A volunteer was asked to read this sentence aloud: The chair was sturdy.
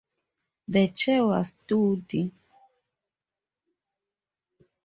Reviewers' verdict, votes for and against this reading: rejected, 0, 4